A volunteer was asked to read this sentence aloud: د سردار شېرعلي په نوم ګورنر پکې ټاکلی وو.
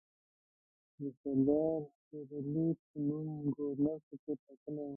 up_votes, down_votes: 0, 2